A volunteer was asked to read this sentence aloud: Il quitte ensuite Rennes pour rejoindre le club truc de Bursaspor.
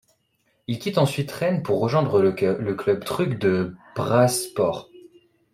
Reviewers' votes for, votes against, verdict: 0, 2, rejected